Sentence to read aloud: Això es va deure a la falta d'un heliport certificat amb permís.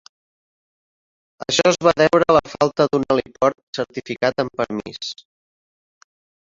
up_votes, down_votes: 4, 1